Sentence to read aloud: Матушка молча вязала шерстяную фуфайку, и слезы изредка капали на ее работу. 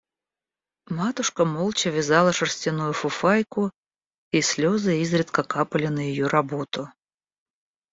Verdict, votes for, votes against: accepted, 2, 0